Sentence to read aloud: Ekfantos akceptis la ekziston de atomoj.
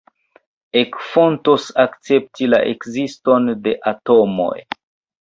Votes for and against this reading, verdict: 2, 0, accepted